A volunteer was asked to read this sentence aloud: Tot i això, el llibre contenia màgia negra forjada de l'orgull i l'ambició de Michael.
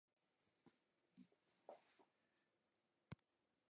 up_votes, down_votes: 0, 2